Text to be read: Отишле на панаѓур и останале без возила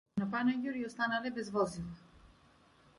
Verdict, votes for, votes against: rejected, 0, 2